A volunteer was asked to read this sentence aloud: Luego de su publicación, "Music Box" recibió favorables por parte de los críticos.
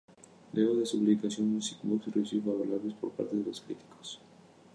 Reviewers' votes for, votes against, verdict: 0, 2, rejected